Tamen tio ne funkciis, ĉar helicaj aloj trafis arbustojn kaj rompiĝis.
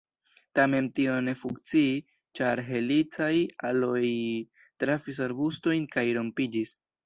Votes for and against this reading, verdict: 2, 0, accepted